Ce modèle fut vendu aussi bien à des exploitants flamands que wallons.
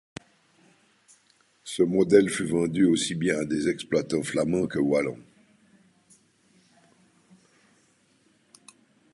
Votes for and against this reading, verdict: 2, 0, accepted